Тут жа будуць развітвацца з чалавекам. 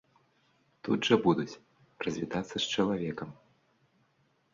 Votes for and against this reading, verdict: 0, 2, rejected